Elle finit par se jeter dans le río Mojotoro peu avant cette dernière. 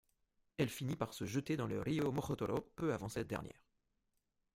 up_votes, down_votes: 2, 1